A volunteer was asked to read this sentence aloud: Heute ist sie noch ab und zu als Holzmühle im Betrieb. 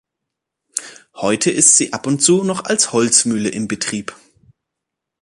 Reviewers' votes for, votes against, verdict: 1, 2, rejected